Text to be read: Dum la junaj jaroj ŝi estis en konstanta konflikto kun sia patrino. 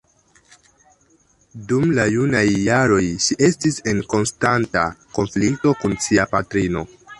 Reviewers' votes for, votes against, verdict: 0, 2, rejected